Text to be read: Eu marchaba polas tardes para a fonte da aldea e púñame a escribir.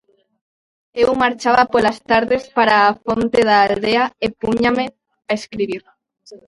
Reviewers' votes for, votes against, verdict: 0, 2, rejected